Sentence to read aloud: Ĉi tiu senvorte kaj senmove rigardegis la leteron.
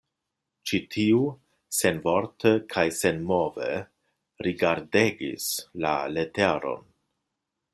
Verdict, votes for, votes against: accepted, 2, 0